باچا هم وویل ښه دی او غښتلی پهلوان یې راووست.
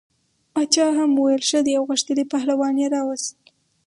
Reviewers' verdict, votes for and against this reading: rejected, 2, 2